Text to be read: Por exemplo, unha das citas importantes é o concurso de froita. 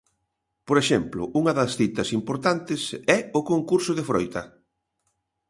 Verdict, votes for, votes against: accepted, 2, 0